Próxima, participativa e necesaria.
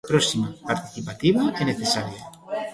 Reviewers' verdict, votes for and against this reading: rejected, 1, 2